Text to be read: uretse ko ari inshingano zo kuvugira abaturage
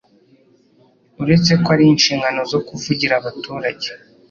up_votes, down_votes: 3, 0